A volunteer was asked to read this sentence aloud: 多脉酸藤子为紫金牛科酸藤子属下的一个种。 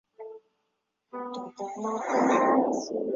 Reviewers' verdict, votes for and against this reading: rejected, 1, 3